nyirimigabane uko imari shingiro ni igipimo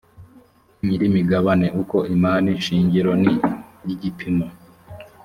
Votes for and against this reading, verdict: 2, 0, accepted